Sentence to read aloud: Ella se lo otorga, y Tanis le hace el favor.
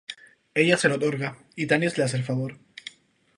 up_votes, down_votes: 2, 2